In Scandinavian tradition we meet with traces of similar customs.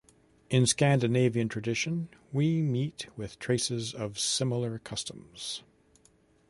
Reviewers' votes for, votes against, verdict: 2, 0, accepted